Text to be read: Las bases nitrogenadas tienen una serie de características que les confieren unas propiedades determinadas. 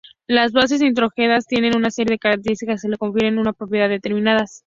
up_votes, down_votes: 0, 2